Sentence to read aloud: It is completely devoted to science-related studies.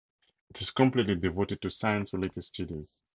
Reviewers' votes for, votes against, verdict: 4, 0, accepted